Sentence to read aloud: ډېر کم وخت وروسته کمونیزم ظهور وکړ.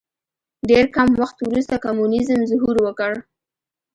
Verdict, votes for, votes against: rejected, 1, 2